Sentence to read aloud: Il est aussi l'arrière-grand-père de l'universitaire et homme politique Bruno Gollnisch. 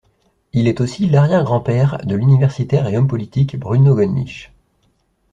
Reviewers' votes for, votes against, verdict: 1, 2, rejected